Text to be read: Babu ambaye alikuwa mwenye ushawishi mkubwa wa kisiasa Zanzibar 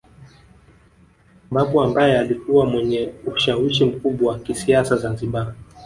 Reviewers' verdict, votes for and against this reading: accepted, 2, 0